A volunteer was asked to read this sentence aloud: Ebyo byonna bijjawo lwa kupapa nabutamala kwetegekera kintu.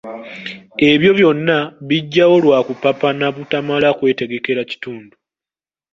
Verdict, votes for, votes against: rejected, 0, 2